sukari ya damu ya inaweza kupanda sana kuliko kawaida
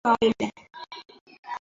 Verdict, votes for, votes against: rejected, 0, 2